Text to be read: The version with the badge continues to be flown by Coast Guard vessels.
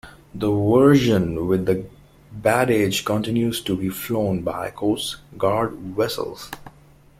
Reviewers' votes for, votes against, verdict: 1, 2, rejected